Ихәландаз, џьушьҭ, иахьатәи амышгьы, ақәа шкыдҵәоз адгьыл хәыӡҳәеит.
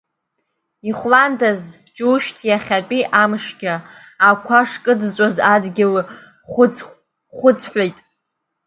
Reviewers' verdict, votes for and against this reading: rejected, 0, 2